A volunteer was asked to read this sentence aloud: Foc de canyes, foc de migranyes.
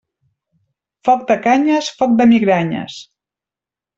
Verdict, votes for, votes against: accepted, 3, 0